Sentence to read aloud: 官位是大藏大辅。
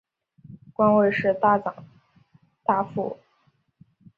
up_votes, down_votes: 0, 2